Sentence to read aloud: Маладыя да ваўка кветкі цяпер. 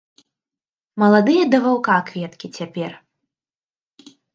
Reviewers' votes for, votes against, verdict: 2, 0, accepted